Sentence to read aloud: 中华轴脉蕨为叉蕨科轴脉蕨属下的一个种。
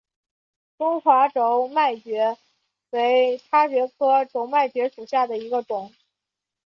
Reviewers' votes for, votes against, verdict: 3, 2, accepted